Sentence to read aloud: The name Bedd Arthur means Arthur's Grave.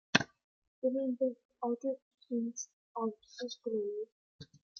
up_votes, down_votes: 0, 2